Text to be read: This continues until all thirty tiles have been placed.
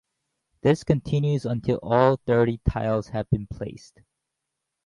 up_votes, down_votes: 0, 2